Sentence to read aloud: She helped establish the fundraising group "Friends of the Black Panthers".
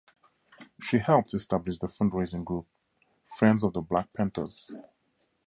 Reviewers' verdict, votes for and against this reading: accepted, 2, 0